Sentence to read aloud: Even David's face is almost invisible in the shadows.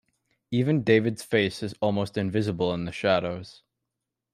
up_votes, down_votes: 2, 0